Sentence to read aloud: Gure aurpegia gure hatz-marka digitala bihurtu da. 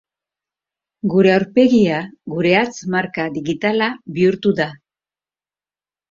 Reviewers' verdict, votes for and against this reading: accepted, 3, 0